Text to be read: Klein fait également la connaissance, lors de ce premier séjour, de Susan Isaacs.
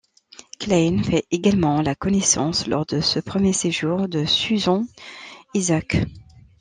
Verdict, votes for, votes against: accepted, 2, 0